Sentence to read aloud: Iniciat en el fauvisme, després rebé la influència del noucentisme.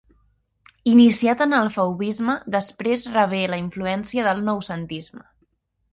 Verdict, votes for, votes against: accepted, 3, 0